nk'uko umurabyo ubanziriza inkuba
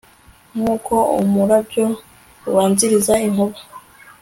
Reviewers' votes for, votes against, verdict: 2, 0, accepted